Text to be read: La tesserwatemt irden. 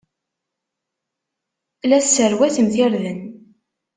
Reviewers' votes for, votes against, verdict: 1, 2, rejected